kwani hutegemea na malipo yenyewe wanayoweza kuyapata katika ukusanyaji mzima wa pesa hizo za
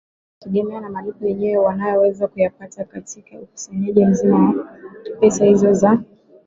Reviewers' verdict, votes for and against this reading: rejected, 2, 3